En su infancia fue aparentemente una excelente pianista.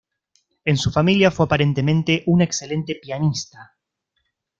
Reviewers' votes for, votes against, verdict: 1, 2, rejected